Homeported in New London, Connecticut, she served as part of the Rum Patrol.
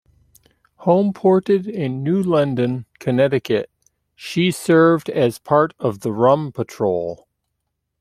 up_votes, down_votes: 0, 2